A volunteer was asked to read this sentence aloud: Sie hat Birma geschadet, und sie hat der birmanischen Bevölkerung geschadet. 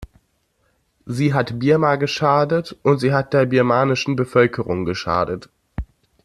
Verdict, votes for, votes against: accepted, 2, 0